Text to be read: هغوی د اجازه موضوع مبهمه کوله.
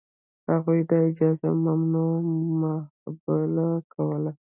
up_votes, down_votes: 0, 2